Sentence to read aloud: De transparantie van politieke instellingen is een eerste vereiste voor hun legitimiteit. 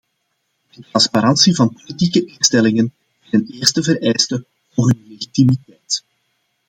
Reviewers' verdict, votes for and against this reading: rejected, 0, 2